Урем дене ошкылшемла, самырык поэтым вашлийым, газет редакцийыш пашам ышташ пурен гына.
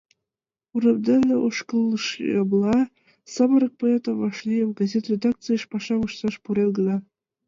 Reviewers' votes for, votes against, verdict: 1, 2, rejected